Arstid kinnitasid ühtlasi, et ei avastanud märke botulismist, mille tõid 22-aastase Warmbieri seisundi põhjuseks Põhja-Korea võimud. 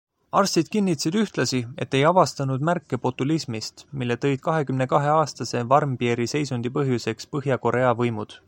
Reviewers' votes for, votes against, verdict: 0, 2, rejected